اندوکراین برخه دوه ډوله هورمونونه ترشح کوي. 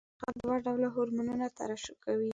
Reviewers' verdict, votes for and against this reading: rejected, 1, 2